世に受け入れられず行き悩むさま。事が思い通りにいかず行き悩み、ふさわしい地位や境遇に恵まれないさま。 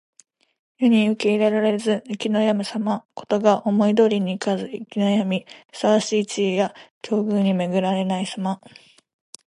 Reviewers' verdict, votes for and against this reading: rejected, 1, 2